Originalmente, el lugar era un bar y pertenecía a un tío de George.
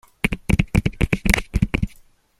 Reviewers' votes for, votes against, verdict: 1, 2, rejected